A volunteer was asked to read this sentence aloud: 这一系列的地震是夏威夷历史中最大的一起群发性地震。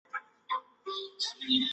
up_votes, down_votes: 3, 4